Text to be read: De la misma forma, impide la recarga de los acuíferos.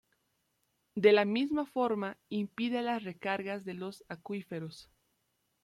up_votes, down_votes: 1, 2